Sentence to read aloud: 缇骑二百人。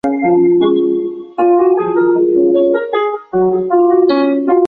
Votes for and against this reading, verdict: 0, 3, rejected